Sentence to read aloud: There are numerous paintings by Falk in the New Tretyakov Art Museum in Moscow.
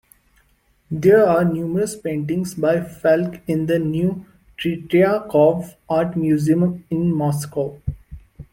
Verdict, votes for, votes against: rejected, 1, 2